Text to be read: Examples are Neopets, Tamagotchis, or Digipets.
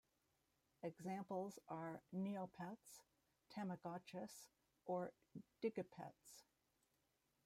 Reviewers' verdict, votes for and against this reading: rejected, 1, 2